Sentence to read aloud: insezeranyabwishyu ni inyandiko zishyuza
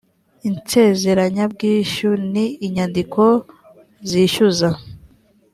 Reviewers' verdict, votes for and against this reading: accepted, 2, 0